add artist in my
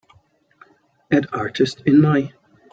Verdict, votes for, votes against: accepted, 2, 0